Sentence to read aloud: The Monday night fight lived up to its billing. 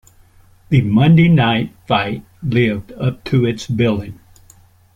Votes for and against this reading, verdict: 2, 0, accepted